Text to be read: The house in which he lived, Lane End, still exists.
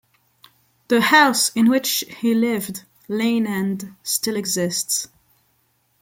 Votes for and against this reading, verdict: 2, 0, accepted